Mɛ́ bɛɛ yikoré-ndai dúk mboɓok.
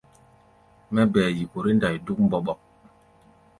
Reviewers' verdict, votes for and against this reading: accepted, 2, 0